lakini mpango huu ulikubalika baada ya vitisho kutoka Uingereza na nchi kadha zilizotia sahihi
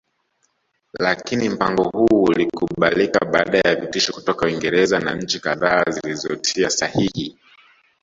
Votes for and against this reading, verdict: 1, 2, rejected